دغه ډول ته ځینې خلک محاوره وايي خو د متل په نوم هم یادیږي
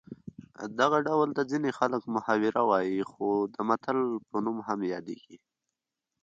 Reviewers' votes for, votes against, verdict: 2, 1, accepted